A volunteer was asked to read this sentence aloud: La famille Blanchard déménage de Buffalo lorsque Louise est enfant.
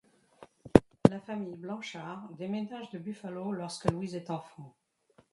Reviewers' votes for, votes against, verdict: 1, 2, rejected